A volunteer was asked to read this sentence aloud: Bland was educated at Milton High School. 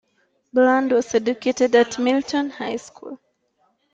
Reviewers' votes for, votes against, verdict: 3, 1, accepted